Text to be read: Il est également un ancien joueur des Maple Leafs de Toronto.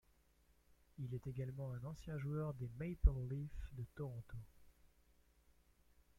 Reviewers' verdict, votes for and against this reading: rejected, 1, 2